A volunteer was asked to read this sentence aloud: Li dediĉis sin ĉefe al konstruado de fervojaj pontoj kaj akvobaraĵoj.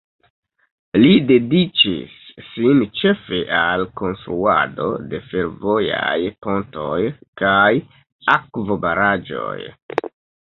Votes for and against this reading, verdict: 2, 0, accepted